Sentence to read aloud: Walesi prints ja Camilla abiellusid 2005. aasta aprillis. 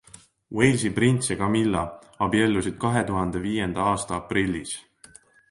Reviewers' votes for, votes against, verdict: 0, 2, rejected